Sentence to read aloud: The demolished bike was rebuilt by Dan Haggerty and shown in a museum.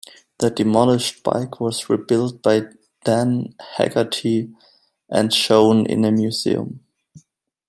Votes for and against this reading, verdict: 2, 0, accepted